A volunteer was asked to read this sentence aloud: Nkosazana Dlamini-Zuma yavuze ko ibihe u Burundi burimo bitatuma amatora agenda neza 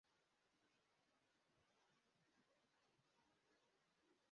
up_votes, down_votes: 0, 2